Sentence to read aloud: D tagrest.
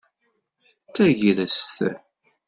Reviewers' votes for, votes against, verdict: 2, 0, accepted